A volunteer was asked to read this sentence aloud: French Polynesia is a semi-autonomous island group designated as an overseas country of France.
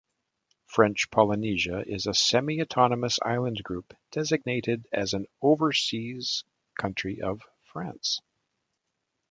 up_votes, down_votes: 2, 0